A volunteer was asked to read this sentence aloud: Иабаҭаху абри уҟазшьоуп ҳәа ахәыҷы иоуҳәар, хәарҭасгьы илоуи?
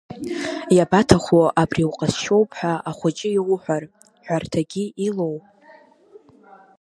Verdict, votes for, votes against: rejected, 1, 2